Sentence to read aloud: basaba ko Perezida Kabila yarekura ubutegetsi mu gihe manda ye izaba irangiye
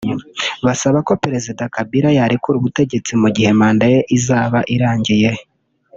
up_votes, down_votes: 1, 2